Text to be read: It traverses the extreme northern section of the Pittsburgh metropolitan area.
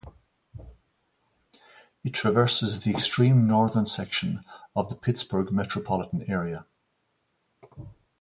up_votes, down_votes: 2, 0